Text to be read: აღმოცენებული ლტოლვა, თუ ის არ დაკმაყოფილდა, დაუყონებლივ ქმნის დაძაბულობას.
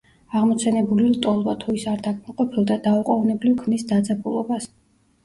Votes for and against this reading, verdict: 0, 2, rejected